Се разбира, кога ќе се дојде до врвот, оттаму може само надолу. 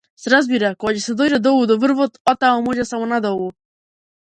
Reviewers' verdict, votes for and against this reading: rejected, 0, 2